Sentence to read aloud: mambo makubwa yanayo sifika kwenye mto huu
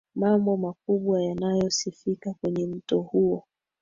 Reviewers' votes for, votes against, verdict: 2, 0, accepted